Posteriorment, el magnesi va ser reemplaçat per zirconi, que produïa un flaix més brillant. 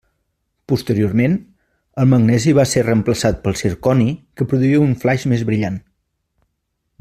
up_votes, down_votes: 0, 2